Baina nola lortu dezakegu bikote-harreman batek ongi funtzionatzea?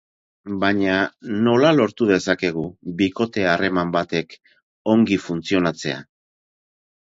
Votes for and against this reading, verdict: 4, 0, accepted